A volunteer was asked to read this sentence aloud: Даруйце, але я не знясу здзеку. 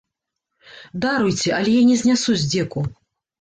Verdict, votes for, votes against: rejected, 0, 2